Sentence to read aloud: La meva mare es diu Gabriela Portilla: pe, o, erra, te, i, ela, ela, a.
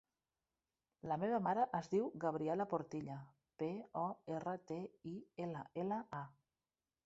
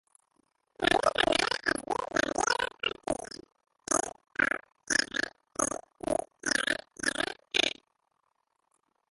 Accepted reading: first